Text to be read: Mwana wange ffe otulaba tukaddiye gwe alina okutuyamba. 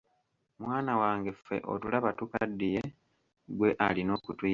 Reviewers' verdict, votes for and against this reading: rejected, 0, 2